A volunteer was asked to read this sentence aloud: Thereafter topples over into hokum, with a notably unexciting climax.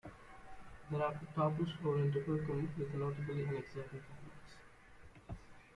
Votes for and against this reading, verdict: 1, 2, rejected